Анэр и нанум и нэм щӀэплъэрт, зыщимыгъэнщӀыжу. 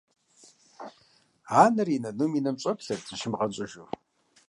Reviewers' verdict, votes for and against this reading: accepted, 2, 0